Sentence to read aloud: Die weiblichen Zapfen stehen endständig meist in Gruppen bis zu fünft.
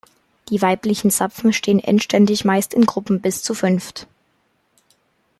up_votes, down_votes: 2, 0